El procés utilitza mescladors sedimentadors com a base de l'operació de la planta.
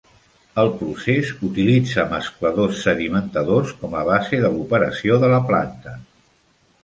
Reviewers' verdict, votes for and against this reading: accepted, 2, 0